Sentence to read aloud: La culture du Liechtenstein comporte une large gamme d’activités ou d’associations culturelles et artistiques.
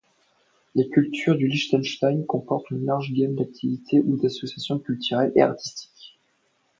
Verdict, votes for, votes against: accepted, 2, 0